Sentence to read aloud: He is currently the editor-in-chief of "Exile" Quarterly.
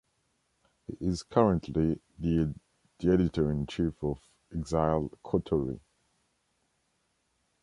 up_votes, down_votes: 2, 0